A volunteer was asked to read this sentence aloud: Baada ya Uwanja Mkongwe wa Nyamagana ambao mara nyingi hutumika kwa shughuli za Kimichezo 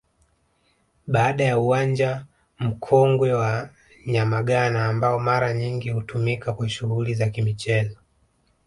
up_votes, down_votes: 2, 0